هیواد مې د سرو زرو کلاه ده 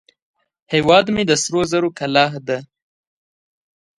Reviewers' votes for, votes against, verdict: 2, 0, accepted